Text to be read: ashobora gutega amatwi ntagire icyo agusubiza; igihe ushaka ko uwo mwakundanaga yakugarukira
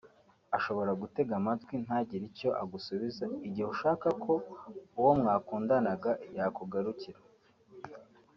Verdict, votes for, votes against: accepted, 2, 0